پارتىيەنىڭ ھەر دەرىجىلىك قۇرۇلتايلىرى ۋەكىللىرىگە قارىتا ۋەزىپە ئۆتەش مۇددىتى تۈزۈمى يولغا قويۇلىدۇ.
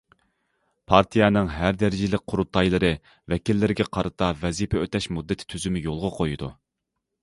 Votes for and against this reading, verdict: 0, 2, rejected